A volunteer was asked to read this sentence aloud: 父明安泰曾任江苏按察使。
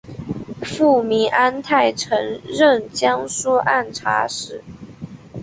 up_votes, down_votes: 3, 0